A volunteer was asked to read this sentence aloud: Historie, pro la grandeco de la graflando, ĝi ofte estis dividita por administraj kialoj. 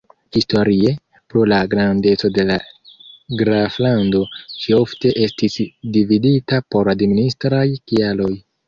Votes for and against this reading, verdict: 2, 1, accepted